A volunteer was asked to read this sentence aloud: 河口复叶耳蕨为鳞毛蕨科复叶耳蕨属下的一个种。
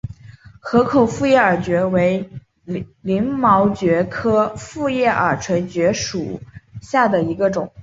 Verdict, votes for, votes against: accepted, 2, 0